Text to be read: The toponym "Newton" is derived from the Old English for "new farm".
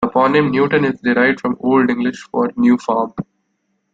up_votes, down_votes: 2, 0